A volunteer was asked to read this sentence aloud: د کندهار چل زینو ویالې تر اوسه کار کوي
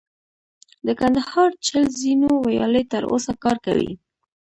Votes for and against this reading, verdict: 1, 2, rejected